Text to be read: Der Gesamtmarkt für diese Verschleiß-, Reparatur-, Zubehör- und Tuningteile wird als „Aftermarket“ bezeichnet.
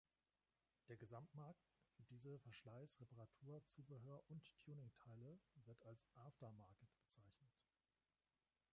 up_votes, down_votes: 2, 1